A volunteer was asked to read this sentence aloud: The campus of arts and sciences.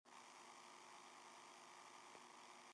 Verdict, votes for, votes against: rejected, 0, 2